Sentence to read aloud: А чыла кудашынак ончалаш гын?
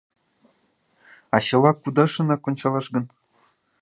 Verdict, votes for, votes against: accepted, 2, 0